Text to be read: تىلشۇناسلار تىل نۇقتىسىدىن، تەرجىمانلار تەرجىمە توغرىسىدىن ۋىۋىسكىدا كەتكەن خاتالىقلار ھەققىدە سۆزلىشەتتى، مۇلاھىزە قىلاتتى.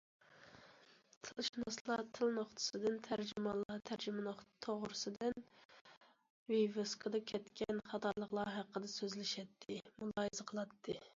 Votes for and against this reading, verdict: 0, 2, rejected